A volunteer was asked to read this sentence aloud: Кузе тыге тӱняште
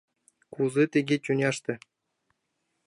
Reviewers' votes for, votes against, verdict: 2, 0, accepted